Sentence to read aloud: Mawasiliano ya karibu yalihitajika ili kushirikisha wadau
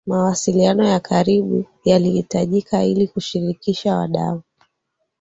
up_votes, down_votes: 6, 0